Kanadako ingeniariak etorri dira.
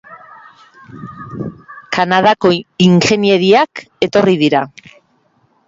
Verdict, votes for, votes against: rejected, 2, 3